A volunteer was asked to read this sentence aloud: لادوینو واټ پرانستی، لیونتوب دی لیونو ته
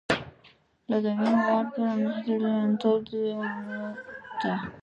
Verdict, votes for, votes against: rejected, 1, 2